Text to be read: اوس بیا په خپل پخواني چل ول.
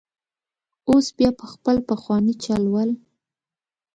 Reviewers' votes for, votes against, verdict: 2, 0, accepted